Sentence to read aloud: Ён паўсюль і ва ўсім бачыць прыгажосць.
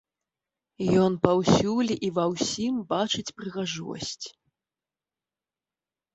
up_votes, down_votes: 2, 0